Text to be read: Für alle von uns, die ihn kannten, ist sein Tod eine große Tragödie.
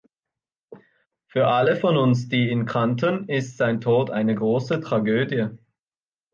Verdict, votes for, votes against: accepted, 2, 0